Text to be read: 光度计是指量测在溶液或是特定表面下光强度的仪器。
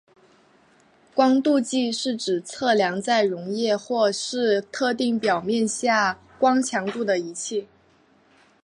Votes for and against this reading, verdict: 0, 2, rejected